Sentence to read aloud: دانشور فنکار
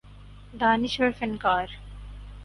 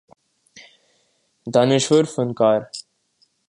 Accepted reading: second